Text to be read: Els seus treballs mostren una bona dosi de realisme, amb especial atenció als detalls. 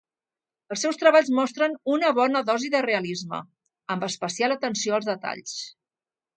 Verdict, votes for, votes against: accepted, 2, 0